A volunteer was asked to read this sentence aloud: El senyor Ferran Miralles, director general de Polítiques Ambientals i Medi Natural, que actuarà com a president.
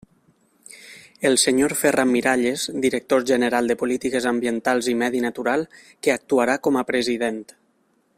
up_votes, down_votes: 3, 1